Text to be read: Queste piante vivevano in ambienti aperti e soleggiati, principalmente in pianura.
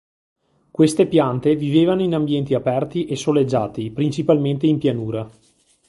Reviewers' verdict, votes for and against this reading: accepted, 2, 0